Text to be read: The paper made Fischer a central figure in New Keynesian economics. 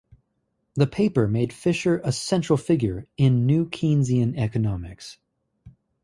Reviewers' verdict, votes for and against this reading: rejected, 2, 2